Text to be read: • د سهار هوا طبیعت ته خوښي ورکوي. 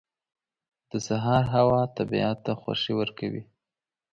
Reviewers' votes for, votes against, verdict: 2, 0, accepted